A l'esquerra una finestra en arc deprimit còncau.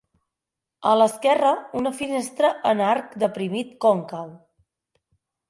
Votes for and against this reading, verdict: 4, 0, accepted